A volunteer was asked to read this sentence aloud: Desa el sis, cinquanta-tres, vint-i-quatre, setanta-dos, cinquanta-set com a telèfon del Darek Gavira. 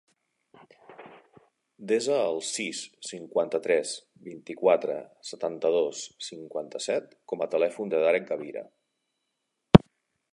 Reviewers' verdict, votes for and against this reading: rejected, 0, 2